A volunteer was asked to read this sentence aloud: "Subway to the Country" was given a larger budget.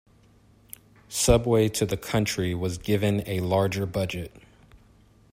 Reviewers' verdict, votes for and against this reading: accepted, 2, 0